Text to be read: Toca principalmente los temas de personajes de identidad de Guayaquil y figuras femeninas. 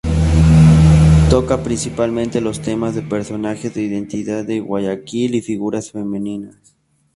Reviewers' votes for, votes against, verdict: 0, 2, rejected